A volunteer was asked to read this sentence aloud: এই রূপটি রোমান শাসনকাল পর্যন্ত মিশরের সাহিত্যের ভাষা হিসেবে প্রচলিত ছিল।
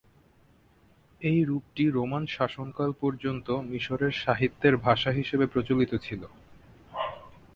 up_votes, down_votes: 2, 0